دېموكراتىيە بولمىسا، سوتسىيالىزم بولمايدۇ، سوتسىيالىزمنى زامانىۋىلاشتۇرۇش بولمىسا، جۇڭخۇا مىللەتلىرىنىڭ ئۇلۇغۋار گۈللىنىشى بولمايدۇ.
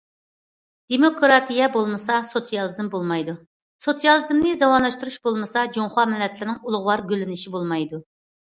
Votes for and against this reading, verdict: 2, 0, accepted